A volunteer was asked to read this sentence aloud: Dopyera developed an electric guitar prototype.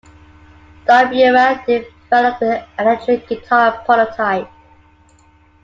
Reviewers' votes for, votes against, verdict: 2, 0, accepted